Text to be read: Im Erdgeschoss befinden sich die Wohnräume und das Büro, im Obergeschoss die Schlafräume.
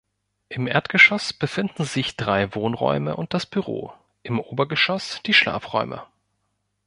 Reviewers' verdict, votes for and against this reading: rejected, 0, 2